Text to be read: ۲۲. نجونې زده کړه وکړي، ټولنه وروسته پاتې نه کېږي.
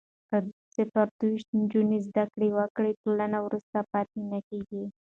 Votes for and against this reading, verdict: 0, 2, rejected